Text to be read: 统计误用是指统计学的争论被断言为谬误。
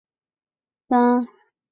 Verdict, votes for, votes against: rejected, 0, 2